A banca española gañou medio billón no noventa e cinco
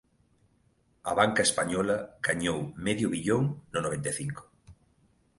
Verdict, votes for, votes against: accepted, 2, 0